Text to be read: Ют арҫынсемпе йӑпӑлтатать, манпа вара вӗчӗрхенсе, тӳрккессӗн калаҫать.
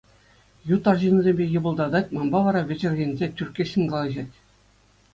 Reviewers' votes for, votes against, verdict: 2, 0, accepted